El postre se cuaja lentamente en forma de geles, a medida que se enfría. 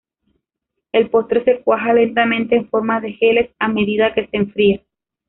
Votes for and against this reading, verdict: 1, 2, rejected